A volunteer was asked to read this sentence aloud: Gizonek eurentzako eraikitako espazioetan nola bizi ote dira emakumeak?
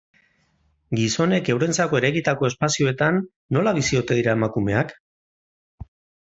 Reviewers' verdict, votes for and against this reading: accepted, 4, 0